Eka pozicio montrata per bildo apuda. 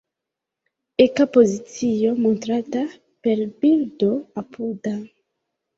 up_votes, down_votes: 0, 2